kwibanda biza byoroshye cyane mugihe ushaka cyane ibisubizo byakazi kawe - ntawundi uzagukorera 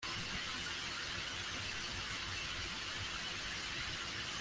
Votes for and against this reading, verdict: 0, 2, rejected